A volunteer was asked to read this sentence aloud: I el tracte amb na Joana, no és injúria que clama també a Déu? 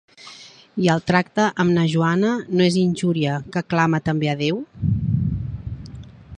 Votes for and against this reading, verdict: 4, 0, accepted